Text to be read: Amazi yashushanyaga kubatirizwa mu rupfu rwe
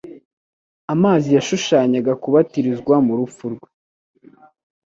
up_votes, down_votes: 2, 0